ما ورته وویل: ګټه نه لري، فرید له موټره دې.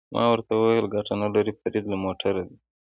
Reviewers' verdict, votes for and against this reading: accepted, 2, 0